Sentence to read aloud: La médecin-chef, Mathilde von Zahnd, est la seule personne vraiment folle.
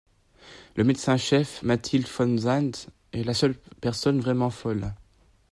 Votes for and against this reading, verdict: 1, 2, rejected